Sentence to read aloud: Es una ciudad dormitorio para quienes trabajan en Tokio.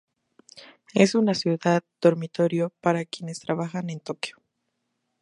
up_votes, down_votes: 2, 0